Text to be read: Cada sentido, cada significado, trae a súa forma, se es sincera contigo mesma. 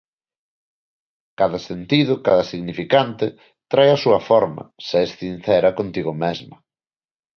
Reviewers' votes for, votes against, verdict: 1, 2, rejected